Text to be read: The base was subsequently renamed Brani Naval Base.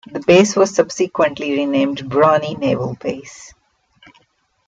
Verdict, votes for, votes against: accepted, 2, 0